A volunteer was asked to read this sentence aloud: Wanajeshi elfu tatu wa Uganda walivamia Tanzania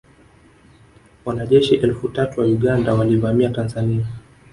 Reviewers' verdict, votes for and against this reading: rejected, 0, 2